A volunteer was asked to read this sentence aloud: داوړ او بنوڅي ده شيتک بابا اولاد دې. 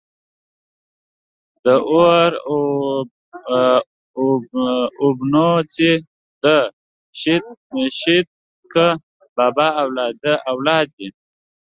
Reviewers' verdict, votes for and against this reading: rejected, 0, 2